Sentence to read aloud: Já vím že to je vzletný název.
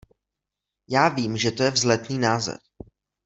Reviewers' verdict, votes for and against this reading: accepted, 2, 0